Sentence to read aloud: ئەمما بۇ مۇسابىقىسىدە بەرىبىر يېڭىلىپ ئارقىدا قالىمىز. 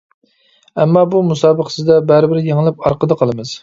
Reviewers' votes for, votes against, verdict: 2, 0, accepted